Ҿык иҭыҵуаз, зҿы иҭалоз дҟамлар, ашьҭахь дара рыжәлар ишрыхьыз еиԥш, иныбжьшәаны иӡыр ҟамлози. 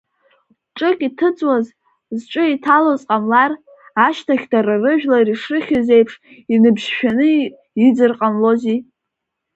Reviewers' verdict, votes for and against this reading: rejected, 0, 2